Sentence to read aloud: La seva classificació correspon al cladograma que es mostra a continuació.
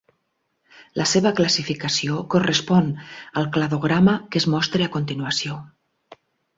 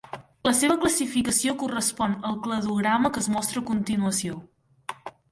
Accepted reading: first